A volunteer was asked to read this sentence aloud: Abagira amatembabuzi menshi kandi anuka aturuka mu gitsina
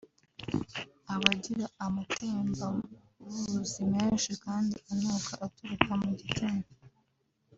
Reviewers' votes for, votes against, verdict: 3, 0, accepted